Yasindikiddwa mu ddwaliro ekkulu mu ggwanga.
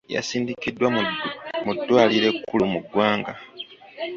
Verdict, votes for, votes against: rejected, 0, 2